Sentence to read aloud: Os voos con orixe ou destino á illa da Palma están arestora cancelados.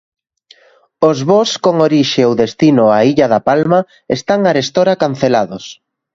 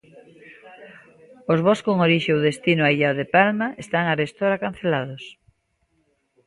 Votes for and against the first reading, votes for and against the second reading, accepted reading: 2, 0, 0, 2, first